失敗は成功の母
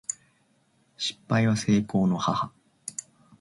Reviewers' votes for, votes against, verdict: 2, 0, accepted